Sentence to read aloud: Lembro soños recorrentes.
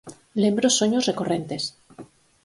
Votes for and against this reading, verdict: 4, 0, accepted